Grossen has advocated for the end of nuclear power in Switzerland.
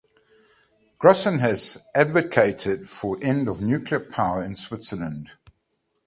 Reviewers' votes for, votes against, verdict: 1, 2, rejected